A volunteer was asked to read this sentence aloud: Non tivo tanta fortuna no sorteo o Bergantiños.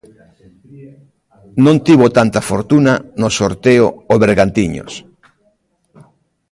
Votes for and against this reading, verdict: 0, 2, rejected